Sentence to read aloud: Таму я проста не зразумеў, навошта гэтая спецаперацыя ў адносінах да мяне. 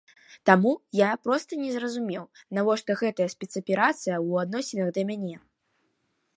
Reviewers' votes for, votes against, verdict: 2, 0, accepted